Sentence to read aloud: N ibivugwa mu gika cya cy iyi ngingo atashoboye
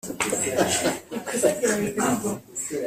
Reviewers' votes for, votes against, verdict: 1, 2, rejected